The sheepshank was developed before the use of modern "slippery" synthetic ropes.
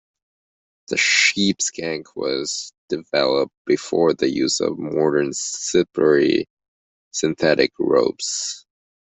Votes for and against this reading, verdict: 0, 2, rejected